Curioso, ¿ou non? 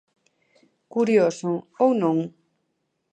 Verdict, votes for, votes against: accepted, 2, 0